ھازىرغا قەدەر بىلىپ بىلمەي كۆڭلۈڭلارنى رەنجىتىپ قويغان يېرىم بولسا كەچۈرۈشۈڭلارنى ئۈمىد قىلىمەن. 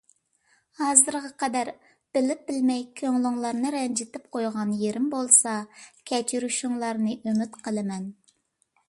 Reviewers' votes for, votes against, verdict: 2, 0, accepted